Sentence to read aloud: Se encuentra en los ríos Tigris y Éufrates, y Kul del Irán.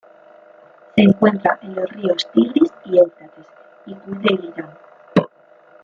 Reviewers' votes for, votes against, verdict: 1, 2, rejected